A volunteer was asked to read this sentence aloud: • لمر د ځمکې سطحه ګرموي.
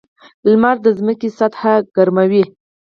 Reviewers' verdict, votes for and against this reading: accepted, 4, 2